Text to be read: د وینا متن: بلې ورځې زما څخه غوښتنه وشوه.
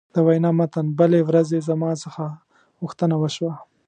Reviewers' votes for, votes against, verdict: 3, 0, accepted